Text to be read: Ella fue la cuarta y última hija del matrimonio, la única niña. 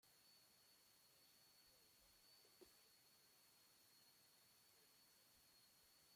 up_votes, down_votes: 0, 2